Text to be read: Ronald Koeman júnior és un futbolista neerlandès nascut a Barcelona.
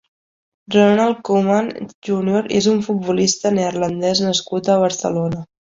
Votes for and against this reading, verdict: 5, 0, accepted